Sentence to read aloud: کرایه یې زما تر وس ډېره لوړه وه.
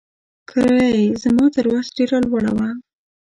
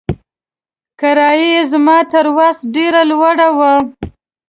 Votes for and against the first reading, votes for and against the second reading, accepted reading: 0, 2, 2, 0, second